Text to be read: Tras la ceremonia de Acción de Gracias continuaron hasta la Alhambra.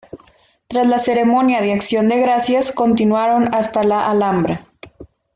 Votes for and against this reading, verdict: 2, 0, accepted